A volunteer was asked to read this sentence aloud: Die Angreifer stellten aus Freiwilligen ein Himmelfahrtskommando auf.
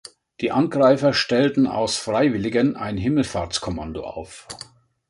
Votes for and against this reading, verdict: 3, 0, accepted